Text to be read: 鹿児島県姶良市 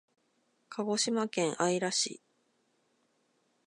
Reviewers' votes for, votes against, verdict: 2, 0, accepted